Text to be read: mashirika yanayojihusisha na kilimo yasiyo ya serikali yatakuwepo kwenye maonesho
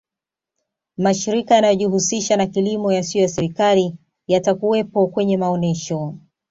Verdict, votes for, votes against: accepted, 2, 0